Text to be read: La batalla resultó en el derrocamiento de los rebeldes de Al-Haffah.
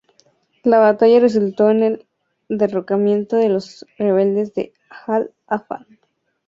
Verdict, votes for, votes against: accepted, 4, 0